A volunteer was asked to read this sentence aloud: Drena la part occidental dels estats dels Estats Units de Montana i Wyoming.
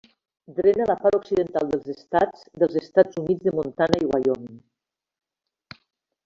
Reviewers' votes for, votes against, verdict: 2, 3, rejected